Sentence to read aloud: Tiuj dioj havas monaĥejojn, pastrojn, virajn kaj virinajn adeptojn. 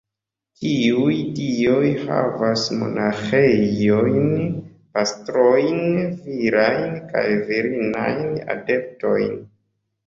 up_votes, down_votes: 2, 0